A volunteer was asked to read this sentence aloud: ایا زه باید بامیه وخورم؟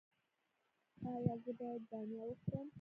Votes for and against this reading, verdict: 0, 2, rejected